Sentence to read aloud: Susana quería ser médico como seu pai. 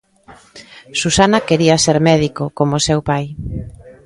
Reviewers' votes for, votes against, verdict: 2, 0, accepted